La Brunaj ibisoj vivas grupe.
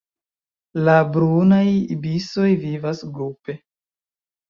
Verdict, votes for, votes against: accepted, 2, 0